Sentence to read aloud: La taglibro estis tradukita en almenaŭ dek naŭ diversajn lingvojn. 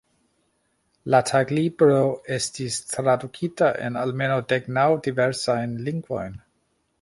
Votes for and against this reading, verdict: 2, 1, accepted